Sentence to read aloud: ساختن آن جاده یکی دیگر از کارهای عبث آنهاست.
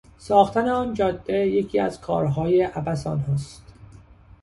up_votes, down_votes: 0, 2